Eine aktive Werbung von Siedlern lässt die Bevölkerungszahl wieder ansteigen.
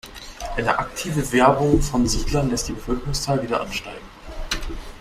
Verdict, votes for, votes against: accepted, 3, 1